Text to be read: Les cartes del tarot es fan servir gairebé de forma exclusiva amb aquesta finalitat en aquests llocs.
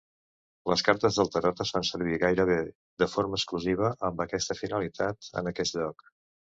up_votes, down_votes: 2, 0